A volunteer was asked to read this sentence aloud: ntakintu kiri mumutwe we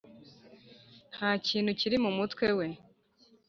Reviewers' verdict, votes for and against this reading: accepted, 2, 1